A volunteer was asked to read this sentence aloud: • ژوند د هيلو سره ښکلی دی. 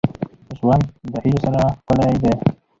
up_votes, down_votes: 4, 0